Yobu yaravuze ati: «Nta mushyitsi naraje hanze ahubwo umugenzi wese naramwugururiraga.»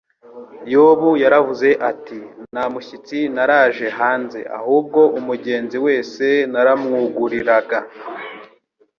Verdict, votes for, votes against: rejected, 1, 2